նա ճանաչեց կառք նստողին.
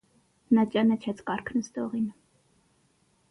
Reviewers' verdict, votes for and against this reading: accepted, 6, 0